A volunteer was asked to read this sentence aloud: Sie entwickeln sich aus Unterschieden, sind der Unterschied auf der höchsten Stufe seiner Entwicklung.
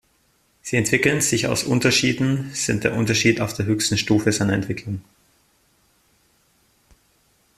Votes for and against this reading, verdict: 2, 0, accepted